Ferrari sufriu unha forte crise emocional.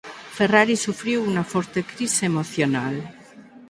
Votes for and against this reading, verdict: 2, 4, rejected